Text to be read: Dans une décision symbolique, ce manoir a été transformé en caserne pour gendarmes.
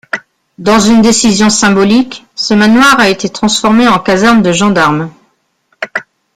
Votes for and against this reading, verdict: 0, 2, rejected